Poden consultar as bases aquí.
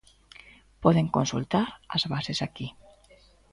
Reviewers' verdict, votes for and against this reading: accepted, 2, 0